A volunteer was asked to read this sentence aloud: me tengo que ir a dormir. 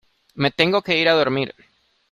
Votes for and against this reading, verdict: 2, 0, accepted